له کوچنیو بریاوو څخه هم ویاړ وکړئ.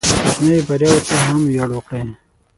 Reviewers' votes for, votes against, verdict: 0, 6, rejected